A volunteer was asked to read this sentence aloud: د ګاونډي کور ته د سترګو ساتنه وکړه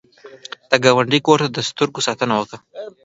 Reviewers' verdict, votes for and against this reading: rejected, 0, 2